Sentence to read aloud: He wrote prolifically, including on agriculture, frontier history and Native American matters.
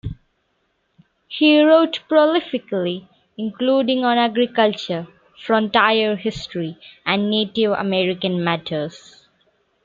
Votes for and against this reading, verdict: 2, 0, accepted